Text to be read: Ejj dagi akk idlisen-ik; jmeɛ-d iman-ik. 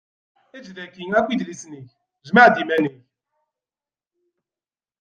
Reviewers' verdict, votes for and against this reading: rejected, 1, 2